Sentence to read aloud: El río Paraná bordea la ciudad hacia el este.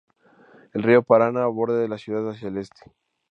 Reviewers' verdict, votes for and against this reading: rejected, 0, 4